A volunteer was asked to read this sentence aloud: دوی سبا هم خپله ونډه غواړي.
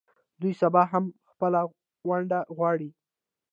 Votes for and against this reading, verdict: 0, 2, rejected